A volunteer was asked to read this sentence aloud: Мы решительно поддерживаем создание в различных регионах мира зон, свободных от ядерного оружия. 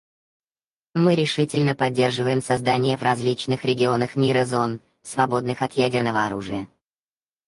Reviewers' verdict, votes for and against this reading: rejected, 2, 4